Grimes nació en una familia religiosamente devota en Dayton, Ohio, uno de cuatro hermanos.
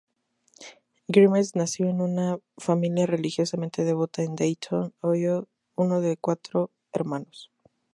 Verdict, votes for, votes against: rejected, 0, 2